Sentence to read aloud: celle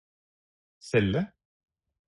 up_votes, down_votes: 4, 0